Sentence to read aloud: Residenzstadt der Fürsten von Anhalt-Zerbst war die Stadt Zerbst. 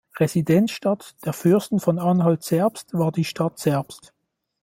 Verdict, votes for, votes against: accepted, 2, 0